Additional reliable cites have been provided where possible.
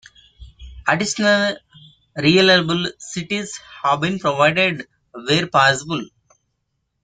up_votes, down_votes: 2, 0